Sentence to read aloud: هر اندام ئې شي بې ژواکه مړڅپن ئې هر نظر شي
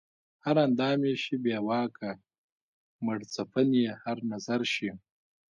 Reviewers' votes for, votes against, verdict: 1, 2, rejected